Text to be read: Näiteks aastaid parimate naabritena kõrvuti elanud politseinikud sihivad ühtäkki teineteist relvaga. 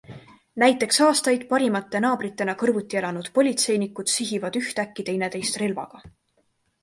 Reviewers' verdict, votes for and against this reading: accepted, 3, 0